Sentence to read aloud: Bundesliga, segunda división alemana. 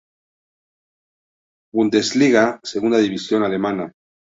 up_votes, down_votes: 2, 0